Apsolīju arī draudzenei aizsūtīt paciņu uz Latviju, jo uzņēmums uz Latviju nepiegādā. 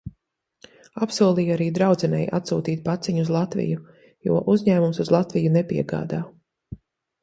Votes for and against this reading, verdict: 0, 2, rejected